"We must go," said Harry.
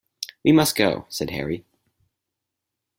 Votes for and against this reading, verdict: 4, 0, accepted